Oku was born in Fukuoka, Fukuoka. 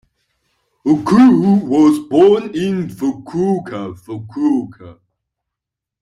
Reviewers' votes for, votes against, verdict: 2, 0, accepted